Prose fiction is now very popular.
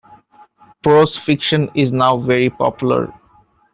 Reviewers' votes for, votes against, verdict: 2, 0, accepted